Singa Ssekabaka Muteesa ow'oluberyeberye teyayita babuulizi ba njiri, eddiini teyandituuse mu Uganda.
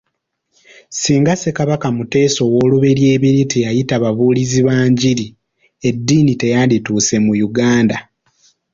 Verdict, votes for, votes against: accepted, 2, 0